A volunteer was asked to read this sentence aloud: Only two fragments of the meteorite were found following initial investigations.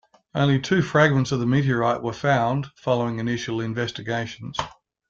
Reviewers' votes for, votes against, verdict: 2, 0, accepted